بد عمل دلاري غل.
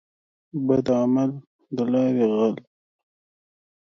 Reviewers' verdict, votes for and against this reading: accepted, 2, 0